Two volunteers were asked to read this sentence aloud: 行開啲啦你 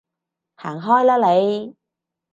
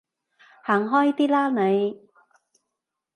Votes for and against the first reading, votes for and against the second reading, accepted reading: 0, 2, 2, 1, second